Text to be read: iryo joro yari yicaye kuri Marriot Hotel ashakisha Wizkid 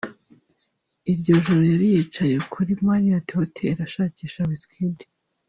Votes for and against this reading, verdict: 0, 2, rejected